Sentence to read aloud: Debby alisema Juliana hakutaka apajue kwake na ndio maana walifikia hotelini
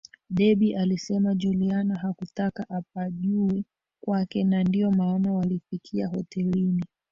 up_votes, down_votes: 0, 2